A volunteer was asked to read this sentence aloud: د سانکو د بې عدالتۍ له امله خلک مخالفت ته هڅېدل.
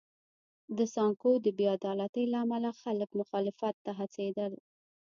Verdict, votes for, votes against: rejected, 0, 2